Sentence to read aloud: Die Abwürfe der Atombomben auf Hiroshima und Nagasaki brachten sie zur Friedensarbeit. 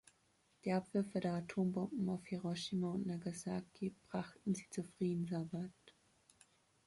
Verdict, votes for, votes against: accepted, 2, 0